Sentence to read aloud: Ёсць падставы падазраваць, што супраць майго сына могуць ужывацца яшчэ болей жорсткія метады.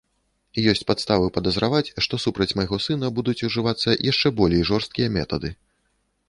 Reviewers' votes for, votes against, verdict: 0, 2, rejected